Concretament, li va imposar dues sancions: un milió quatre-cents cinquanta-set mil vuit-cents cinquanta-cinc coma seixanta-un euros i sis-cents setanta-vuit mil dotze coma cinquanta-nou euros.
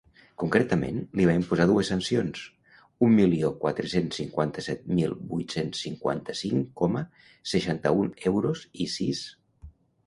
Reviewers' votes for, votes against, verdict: 1, 2, rejected